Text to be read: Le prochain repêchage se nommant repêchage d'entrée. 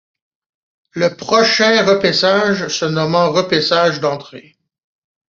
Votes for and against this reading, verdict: 0, 2, rejected